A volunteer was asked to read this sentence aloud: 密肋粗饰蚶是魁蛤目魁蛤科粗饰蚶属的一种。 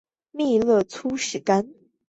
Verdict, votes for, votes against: rejected, 0, 2